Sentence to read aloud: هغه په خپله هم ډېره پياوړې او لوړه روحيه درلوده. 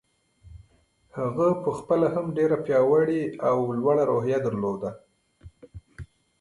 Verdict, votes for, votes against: accepted, 2, 0